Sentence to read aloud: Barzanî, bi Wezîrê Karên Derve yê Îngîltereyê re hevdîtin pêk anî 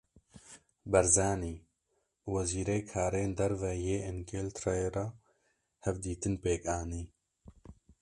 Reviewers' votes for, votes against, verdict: 1, 2, rejected